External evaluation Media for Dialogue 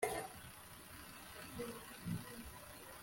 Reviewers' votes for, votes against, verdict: 0, 2, rejected